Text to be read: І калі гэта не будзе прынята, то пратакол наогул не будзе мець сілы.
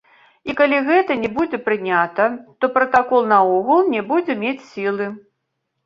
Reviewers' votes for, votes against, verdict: 1, 3, rejected